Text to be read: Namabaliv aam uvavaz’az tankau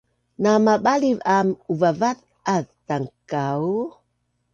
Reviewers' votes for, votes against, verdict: 2, 0, accepted